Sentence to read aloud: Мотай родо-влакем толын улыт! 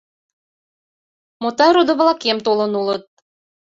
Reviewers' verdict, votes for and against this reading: accepted, 2, 0